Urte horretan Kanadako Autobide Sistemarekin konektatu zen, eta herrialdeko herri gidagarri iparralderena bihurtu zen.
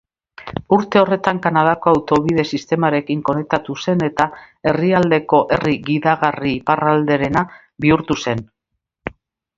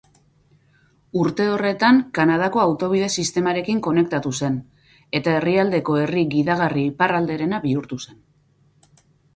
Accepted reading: first